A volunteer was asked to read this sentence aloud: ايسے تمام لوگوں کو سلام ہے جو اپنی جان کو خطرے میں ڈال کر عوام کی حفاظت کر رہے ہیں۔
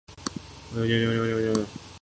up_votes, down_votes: 0, 2